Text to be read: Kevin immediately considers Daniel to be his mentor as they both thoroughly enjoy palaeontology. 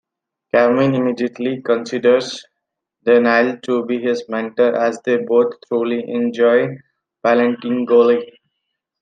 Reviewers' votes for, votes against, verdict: 0, 2, rejected